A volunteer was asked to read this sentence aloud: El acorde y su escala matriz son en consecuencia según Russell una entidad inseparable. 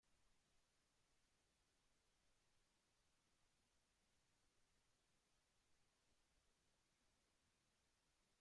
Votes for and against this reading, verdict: 0, 2, rejected